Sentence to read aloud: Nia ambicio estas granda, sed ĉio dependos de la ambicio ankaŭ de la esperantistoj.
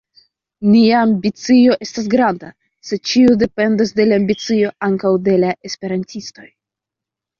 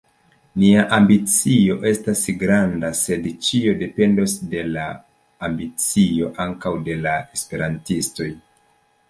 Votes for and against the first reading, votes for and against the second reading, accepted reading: 1, 2, 2, 0, second